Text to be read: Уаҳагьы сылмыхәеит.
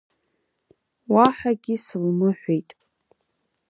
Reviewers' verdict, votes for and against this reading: rejected, 1, 3